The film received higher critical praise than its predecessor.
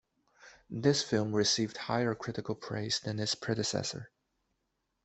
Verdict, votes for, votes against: rejected, 0, 2